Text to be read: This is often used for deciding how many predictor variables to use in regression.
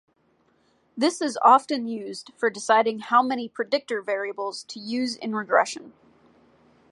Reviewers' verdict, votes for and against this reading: accepted, 2, 0